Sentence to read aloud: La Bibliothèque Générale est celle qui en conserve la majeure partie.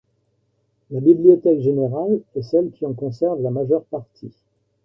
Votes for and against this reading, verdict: 2, 1, accepted